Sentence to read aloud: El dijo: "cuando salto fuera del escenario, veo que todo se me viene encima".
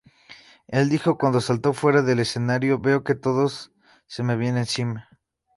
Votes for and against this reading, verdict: 2, 0, accepted